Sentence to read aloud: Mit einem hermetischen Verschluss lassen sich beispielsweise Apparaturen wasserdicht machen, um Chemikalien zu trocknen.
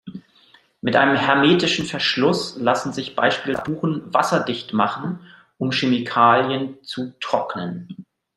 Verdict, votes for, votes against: rejected, 0, 2